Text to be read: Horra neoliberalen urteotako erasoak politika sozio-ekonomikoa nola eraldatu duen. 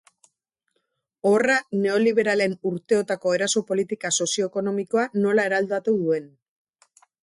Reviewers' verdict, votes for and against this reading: accepted, 2, 0